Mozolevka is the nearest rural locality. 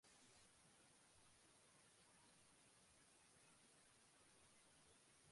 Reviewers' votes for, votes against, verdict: 0, 2, rejected